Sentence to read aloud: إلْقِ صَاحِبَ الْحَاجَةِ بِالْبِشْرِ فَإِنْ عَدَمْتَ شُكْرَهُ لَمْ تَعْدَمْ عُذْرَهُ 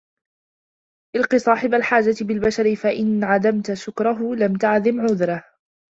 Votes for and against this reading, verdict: 1, 2, rejected